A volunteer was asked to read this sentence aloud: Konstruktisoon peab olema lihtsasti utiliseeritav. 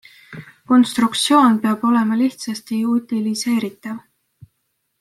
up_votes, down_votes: 2, 0